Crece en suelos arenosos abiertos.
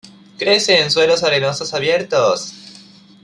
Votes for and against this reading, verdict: 2, 0, accepted